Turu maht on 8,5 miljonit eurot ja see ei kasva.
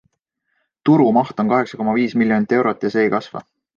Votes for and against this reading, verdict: 0, 2, rejected